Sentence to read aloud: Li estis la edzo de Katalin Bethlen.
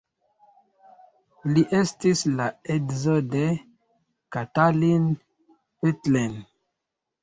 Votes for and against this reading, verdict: 1, 2, rejected